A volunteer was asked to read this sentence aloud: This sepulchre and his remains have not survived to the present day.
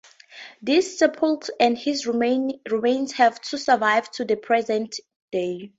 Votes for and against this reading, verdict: 2, 2, rejected